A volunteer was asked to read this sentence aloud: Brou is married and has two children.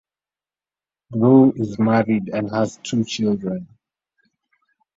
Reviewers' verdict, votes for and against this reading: accepted, 2, 1